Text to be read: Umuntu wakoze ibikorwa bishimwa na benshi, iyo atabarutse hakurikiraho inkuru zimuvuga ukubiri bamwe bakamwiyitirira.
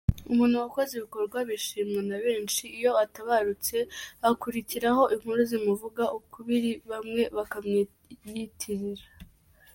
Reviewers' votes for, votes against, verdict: 1, 2, rejected